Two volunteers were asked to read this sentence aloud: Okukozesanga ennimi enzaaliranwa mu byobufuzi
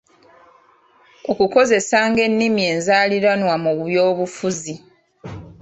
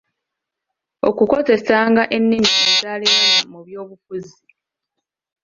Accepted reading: first